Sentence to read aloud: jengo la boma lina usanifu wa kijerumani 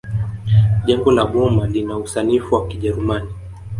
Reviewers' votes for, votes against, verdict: 1, 2, rejected